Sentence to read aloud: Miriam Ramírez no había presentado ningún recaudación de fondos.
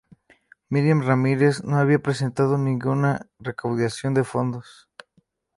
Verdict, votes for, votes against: rejected, 0, 2